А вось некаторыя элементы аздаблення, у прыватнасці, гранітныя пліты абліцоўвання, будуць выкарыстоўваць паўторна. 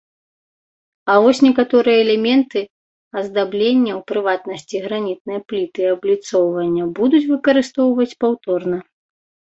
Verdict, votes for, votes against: accepted, 2, 0